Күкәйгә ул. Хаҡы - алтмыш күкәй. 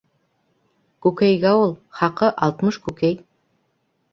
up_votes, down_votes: 2, 0